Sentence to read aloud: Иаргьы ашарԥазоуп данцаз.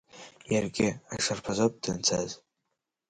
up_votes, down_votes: 3, 0